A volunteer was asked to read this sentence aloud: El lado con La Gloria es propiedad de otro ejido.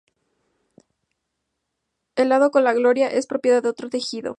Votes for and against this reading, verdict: 0, 2, rejected